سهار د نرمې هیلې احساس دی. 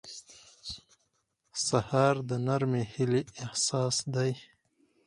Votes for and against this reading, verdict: 2, 4, rejected